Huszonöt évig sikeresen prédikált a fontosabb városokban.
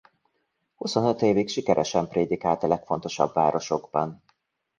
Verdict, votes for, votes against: rejected, 0, 2